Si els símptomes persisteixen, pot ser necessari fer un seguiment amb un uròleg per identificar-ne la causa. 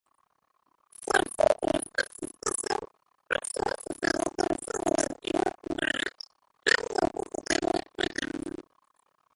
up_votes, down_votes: 0, 2